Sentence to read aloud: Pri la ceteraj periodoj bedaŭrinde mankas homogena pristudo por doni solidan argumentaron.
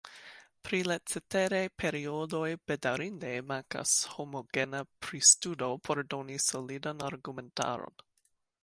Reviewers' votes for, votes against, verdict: 2, 0, accepted